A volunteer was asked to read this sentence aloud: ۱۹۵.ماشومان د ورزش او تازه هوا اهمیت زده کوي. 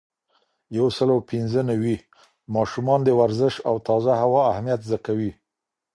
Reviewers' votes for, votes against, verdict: 0, 2, rejected